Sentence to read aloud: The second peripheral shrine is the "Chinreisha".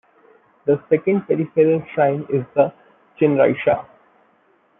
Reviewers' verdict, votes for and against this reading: rejected, 0, 2